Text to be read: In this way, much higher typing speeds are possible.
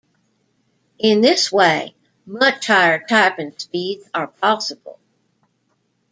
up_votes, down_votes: 2, 0